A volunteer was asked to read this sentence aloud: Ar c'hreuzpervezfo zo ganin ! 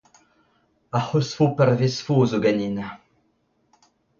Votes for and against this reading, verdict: 2, 0, accepted